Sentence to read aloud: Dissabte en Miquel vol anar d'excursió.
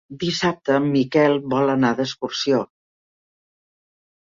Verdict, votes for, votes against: accepted, 4, 0